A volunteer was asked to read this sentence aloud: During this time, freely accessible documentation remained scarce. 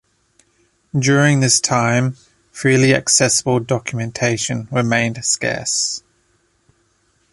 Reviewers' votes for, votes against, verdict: 2, 1, accepted